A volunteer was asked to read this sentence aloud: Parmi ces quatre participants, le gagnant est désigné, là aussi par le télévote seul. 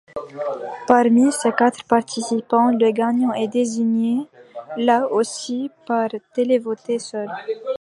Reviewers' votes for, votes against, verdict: 0, 2, rejected